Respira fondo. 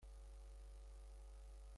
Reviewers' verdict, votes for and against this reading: rejected, 0, 2